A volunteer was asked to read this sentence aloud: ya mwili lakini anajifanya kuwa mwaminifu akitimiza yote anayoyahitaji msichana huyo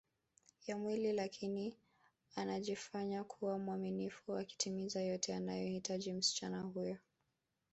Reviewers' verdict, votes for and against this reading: accepted, 2, 0